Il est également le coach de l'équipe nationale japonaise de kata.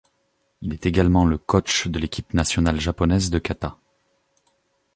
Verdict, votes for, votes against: accepted, 2, 0